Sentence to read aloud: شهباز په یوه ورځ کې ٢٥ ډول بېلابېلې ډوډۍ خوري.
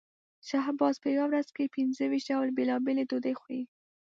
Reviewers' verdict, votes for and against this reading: rejected, 0, 2